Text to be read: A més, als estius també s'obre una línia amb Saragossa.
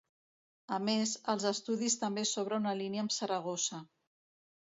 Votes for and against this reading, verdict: 1, 2, rejected